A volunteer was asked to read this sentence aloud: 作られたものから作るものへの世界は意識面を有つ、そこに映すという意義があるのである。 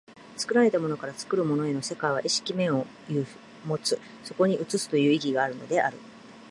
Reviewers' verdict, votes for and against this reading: rejected, 1, 2